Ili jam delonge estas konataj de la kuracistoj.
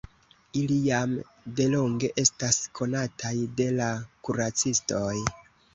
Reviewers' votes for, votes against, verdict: 2, 0, accepted